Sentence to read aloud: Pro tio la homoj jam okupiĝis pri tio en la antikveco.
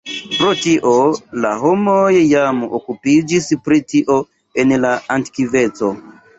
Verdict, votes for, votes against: accepted, 2, 0